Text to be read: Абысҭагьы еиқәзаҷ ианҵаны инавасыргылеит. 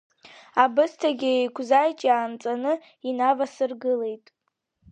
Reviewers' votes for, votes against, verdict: 2, 0, accepted